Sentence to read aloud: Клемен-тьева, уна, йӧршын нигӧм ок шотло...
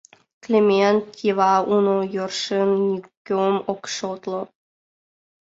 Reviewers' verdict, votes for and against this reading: rejected, 0, 2